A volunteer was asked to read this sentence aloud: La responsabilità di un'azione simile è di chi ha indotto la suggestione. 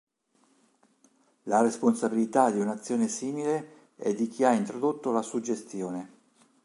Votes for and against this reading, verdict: 1, 2, rejected